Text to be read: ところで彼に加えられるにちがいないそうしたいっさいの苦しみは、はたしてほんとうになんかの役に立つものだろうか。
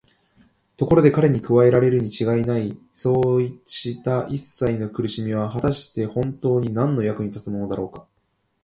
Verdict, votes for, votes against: rejected, 5, 6